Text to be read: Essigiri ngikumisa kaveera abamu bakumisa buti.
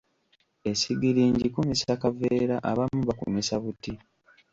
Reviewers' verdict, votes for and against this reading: rejected, 1, 2